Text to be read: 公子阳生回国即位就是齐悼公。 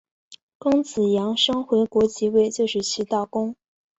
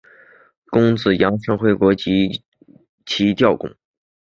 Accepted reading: first